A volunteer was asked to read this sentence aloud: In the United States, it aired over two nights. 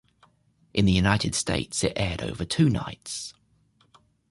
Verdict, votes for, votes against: accepted, 2, 0